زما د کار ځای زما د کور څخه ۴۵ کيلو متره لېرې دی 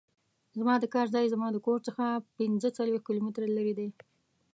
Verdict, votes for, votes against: rejected, 0, 2